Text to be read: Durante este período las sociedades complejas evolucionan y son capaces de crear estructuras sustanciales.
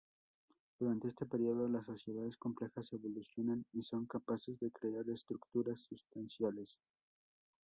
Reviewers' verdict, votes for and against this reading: accepted, 2, 0